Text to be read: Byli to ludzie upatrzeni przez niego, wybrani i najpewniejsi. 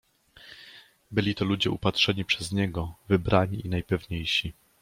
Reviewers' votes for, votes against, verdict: 2, 0, accepted